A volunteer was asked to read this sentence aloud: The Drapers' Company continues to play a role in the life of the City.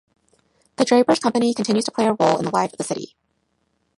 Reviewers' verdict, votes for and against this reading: rejected, 1, 2